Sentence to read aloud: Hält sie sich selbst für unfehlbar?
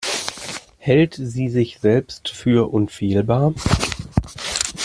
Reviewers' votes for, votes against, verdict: 1, 2, rejected